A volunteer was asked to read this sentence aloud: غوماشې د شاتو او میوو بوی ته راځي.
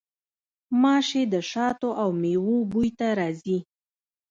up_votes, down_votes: 1, 2